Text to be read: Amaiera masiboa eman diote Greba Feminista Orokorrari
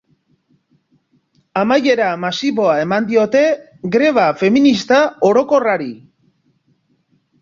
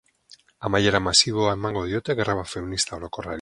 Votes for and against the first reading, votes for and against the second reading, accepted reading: 3, 0, 2, 4, first